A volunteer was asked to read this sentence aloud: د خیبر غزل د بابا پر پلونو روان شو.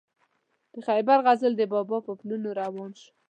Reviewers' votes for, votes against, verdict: 2, 0, accepted